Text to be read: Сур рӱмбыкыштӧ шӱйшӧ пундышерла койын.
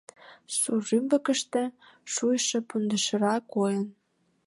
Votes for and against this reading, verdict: 0, 2, rejected